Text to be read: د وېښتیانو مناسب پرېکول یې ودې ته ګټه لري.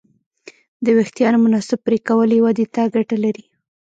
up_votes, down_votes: 0, 2